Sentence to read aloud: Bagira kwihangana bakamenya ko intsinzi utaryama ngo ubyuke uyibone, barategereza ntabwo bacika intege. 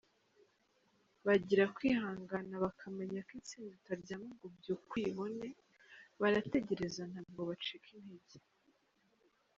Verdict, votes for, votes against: accepted, 2, 0